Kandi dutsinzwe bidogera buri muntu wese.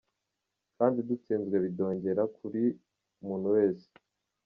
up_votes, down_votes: 2, 0